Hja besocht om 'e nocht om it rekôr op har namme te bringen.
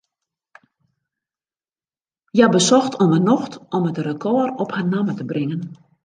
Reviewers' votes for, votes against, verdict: 2, 0, accepted